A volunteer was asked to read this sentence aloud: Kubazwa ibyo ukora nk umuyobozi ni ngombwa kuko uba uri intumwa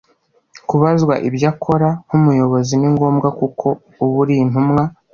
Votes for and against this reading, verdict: 1, 2, rejected